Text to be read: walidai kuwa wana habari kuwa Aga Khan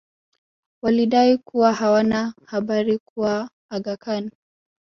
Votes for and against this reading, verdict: 1, 2, rejected